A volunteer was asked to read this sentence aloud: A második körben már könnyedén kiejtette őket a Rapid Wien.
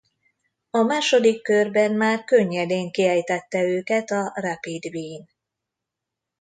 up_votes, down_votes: 2, 0